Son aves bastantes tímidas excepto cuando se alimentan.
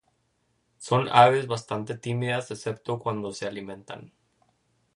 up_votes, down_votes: 2, 0